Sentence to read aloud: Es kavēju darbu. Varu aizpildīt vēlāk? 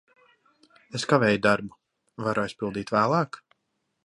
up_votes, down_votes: 2, 0